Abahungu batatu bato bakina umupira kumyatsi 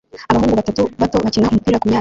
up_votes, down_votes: 0, 2